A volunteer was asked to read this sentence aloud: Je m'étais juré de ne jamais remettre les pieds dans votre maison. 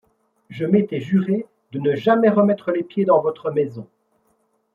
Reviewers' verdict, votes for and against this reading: accepted, 2, 0